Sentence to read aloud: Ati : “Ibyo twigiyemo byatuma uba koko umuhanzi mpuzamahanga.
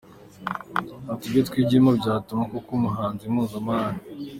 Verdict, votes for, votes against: accepted, 2, 0